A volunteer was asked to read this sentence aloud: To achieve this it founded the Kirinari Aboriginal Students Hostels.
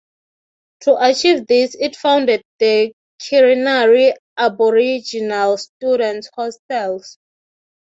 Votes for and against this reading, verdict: 6, 0, accepted